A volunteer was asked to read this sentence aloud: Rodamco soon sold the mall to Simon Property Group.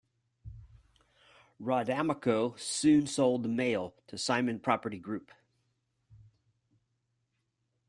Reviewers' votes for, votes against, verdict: 1, 2, rejected